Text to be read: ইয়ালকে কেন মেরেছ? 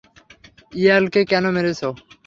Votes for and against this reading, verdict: 6, 0, accepted